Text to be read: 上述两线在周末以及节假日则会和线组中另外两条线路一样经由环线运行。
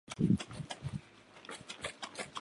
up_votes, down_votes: 0, 2